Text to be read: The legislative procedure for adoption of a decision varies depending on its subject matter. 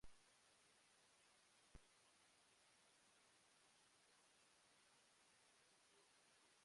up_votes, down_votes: 0, 2